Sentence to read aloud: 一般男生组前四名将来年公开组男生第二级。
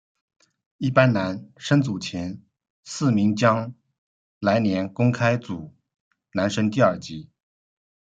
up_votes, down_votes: 0, 2